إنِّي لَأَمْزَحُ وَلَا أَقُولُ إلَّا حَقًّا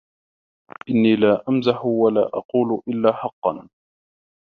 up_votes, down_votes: 1, 2